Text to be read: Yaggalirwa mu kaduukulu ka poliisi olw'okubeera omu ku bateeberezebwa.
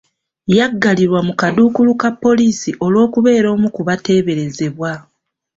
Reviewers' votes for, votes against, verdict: 2, 0, accepted